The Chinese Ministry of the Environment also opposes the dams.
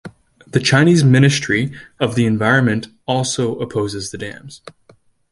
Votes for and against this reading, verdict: 2, 0, accepted